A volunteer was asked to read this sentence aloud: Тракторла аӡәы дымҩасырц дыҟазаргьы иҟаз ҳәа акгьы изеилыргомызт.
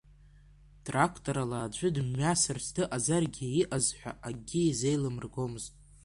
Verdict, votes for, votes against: rejected, 1, 2